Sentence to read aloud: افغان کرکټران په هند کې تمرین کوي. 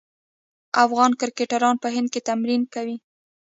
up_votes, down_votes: 1, 2